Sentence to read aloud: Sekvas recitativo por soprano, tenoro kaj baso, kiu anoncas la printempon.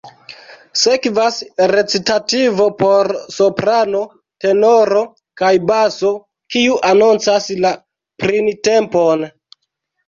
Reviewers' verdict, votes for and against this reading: accepted, 2, 0